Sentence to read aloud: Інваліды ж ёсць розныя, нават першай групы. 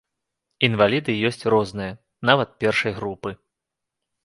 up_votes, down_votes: 0, 2